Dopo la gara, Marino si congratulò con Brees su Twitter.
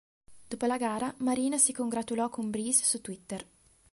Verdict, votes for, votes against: accepted, 2, 0